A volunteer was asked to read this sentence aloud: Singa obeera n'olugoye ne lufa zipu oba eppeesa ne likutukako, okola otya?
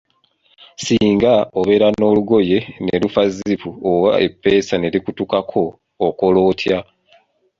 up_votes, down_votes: 2, 0